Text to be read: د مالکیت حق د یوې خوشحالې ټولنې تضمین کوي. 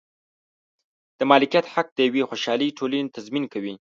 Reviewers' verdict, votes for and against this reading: accepted, 2, 0